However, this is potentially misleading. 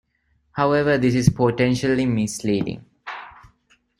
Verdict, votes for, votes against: accepted, 2, 0